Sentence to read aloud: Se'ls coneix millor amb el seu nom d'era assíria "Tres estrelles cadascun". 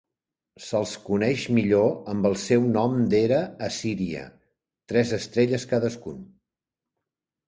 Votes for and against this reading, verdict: 2, 0, accepted